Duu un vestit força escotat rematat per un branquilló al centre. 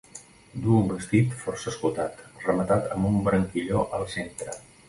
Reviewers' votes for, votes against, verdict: 1, 2, rejected